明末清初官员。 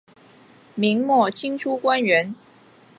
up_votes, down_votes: 2, 0